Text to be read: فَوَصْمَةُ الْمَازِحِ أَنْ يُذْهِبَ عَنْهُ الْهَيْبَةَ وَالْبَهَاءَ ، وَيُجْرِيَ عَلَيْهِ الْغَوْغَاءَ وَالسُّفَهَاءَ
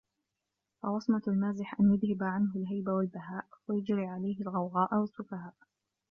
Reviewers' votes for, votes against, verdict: 0, 2, rejected